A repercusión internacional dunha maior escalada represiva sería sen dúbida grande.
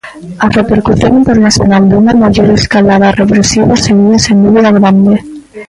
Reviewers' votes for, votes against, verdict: 0, 2, rejected